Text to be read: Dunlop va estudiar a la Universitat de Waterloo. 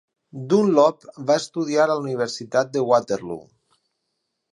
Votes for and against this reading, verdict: 6, 0, accepted